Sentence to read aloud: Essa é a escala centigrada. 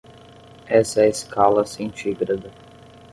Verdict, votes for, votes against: accepted, 10, 0